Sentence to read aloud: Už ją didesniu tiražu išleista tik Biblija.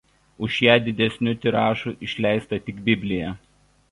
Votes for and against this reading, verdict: 2, 0, accepted